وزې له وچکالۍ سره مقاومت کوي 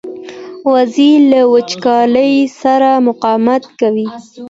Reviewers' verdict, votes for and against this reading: accepted, 2, 0